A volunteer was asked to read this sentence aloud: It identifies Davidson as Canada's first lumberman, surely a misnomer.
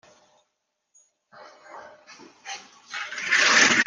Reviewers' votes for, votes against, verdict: 0, 2, rejected